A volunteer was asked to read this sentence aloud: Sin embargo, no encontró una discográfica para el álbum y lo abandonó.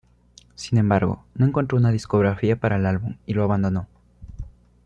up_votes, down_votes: 1, 2